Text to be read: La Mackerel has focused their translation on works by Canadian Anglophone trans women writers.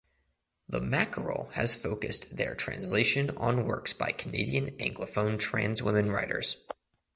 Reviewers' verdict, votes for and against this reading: rejected, 0, 2